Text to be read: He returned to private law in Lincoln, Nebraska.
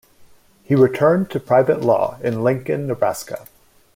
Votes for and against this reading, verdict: 2, 0, accepted